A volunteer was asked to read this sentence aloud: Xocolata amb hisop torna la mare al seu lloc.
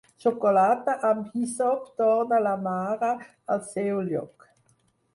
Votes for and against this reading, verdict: 4, 2, accepted